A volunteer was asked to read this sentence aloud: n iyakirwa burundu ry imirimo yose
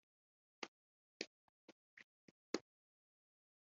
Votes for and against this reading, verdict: 0, 2, rejected